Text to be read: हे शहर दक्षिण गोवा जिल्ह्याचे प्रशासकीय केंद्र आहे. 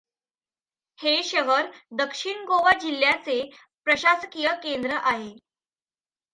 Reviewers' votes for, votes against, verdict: 2, 0, accepted